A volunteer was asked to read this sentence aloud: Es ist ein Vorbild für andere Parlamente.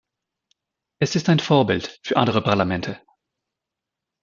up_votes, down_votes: 2, 0